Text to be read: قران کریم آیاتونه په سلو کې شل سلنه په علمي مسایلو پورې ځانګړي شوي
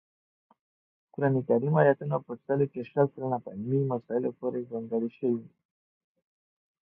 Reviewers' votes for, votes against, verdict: 2, 0, accepted